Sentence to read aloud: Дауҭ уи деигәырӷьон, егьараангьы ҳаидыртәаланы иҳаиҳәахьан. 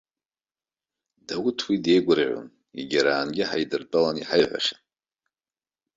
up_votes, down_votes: 1, 2